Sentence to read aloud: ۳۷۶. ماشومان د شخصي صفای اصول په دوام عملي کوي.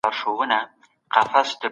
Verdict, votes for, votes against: rejected, 0, 2